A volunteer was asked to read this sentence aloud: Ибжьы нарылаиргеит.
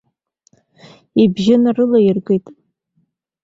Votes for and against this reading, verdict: 2, 0, accepted